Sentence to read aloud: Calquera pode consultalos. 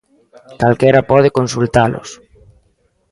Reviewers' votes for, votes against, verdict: 2, 0, accepted